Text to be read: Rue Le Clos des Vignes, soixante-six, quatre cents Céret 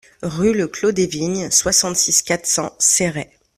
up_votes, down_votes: 2, 0